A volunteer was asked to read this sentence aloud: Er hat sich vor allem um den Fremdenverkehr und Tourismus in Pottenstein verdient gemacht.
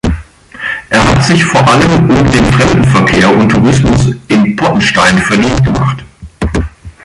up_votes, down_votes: 2, 1